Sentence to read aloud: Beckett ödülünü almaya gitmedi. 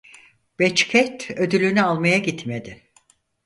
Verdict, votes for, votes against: rejected, 0, 4